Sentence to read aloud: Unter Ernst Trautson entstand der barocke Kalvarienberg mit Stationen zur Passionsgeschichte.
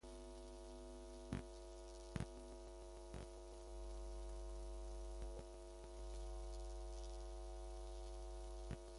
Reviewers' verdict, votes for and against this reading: rejected, 0, 2